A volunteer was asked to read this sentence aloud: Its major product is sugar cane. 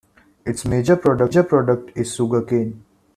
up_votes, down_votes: 0, 2